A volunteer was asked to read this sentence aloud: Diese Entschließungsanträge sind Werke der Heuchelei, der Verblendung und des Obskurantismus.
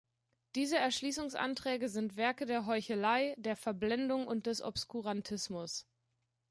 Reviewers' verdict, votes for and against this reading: rejected, 0, 2